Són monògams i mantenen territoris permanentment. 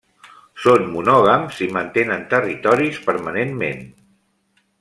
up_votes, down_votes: 3, 0